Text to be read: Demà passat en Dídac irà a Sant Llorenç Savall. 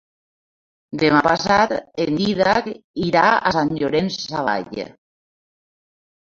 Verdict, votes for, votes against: rejected, 1, 2